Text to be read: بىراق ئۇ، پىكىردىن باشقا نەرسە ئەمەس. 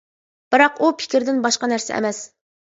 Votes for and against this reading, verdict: 2, 0, accepted